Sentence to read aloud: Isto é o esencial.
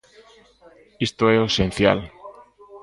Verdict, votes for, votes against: accepted, 2, 0